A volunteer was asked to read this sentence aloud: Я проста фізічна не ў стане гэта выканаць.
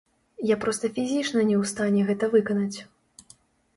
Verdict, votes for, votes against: rejected, 0, 2